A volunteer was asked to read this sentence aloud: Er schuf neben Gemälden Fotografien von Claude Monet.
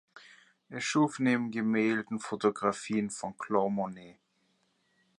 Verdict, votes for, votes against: accepted, 2, 1